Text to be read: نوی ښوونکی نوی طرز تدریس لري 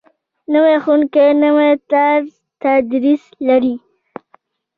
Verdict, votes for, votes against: rejected, 0, 2